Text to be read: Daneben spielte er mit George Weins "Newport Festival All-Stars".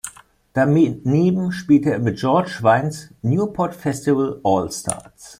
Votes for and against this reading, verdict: 0, 2, rejected